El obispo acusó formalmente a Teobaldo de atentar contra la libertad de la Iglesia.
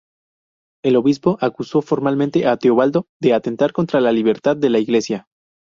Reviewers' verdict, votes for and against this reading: rejected, 2, 2